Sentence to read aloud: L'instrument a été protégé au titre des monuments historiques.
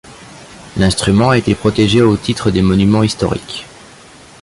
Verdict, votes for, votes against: rejected, 1, 2